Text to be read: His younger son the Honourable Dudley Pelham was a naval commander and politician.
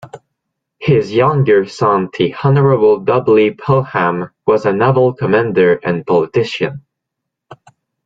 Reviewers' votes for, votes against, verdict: 1, 2, rejected